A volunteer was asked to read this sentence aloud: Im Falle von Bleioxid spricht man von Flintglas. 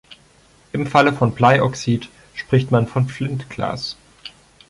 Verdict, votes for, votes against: accepted, 2, 0